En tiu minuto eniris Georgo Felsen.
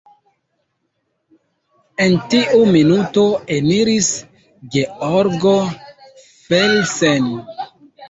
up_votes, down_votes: 2, 0